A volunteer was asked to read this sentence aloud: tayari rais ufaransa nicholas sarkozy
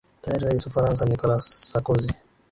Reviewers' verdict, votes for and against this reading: accepted, 10, 3